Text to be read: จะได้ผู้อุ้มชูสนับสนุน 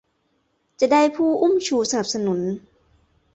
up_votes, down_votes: 2, 0